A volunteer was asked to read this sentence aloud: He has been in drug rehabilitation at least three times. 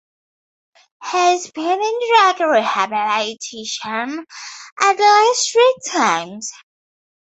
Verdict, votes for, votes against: accepted, 2, 0